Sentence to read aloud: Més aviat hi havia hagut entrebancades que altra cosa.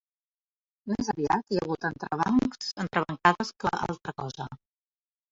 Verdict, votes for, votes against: rejected, 0, 2